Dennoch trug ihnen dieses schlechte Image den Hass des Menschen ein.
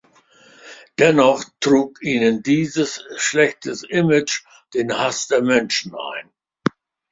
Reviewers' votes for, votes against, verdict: 2, 1, accepted